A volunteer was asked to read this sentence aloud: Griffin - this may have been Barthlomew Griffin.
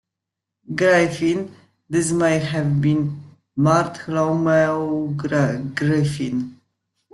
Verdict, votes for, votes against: rejected, 0, 2